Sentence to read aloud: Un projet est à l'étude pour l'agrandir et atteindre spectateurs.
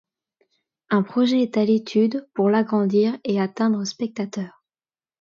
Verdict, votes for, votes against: accepted, 2, 0